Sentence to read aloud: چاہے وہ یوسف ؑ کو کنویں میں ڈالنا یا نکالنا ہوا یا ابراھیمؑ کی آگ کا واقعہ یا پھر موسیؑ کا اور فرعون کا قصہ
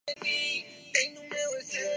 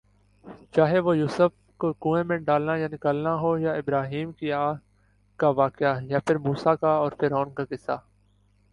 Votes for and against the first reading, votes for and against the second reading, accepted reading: 0, 2, 2, 0, second